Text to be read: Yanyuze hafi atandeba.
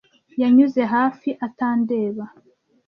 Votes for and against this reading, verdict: 2, 0, accepted